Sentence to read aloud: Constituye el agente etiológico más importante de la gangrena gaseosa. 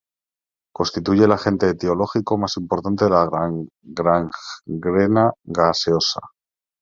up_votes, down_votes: 0, 2